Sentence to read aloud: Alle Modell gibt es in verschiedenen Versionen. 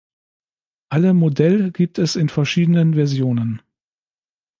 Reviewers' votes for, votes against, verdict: 2, 0, accepted